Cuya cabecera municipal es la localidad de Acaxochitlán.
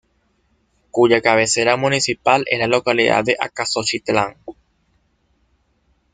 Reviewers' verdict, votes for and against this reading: accepted, 2, 1